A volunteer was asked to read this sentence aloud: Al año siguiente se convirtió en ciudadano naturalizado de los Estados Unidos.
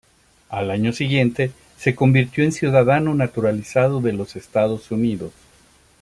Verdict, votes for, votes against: accepted, 2, 0